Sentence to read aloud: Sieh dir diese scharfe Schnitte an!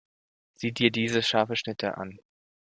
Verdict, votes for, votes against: accepted, 2, 1